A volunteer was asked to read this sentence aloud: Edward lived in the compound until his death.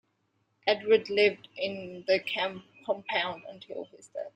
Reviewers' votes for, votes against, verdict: 0, 2, rejected